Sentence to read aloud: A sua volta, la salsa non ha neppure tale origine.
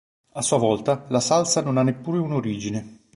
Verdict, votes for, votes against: rejected, 0, 3